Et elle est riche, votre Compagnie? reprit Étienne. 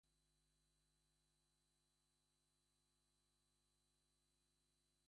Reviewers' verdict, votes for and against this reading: rejected, 0, 2